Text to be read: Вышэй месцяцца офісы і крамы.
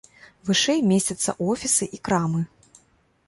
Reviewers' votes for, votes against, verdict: 2, 1, accepted